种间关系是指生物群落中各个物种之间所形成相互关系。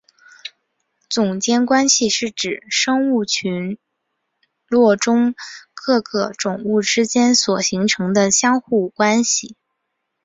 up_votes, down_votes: 5, 1